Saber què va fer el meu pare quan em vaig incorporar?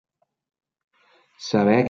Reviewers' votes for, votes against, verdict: 0, 2, rejected